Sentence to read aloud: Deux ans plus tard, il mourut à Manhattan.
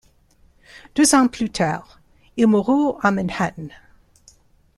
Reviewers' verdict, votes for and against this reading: rejected, 1, 2